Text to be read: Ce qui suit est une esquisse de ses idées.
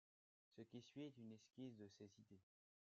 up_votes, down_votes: 1, 2